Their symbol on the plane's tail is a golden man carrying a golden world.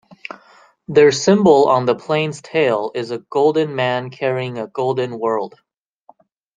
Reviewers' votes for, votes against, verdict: 2, 0, accepted